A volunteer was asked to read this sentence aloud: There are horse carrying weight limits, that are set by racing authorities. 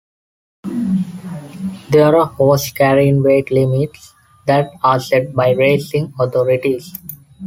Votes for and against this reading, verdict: 1, 2, rejected